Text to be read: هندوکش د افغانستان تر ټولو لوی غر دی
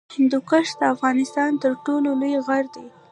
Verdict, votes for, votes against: rejected, 1, 2